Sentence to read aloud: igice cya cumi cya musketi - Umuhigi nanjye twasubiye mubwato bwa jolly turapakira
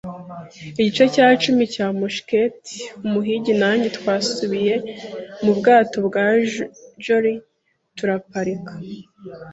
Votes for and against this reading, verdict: 1, 3, rejected